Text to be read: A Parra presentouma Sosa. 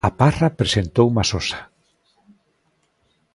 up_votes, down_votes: 2, 0